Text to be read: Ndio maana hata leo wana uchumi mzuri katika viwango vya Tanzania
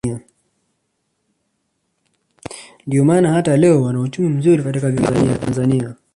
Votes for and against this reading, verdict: 0, 2, rejected